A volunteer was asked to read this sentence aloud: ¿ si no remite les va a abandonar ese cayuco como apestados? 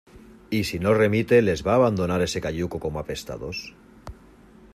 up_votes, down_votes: 0, 2